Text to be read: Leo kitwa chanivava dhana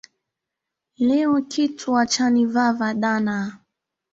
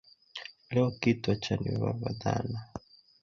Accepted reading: first